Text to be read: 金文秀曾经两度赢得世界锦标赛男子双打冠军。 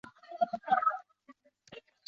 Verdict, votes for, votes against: rejected, 0, 2